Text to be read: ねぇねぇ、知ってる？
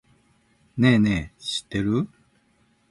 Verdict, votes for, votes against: accepted, 2, 0